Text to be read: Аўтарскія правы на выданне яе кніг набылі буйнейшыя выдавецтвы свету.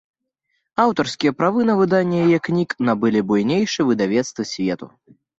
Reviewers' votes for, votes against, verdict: 0, 2, rejected